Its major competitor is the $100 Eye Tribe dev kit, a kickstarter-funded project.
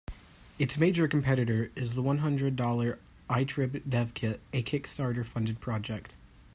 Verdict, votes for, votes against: rejected, 0, 2